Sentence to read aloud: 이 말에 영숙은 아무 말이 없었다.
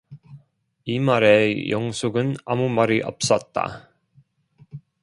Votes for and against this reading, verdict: 2, 0, accepted